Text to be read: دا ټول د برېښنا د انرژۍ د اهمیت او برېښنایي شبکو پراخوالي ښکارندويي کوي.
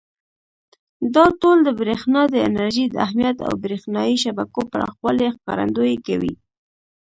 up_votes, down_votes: 2, 0